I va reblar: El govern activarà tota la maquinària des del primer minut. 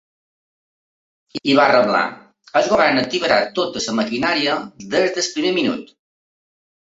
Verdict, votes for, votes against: rejected, 0, 2